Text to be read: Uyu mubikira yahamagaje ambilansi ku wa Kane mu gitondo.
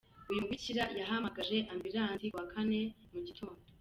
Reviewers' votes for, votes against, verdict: 2, 1, accepted